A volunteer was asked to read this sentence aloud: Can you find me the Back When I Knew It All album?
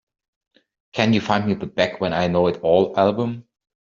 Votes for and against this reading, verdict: 0, 2, rejected